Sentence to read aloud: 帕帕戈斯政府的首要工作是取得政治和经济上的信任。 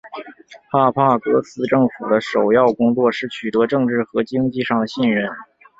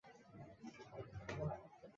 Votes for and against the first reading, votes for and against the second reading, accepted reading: 7, 1, 2, 3, first